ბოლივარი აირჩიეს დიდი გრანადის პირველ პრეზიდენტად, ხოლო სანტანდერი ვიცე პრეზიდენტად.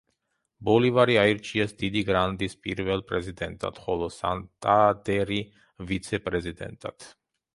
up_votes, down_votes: 1, 2